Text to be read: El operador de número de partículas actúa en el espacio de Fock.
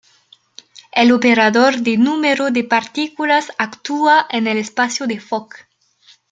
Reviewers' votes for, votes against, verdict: 2, 0, accepted